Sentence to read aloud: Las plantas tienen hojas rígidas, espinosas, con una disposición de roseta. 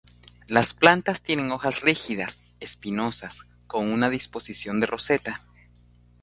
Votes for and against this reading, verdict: 3, 0, accepted